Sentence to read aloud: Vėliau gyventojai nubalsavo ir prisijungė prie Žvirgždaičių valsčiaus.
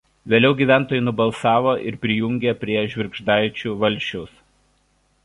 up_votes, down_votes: 1, 2